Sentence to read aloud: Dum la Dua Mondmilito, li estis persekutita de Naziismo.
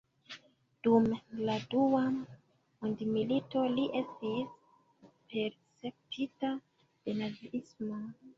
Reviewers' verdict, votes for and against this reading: rejected, 1, 2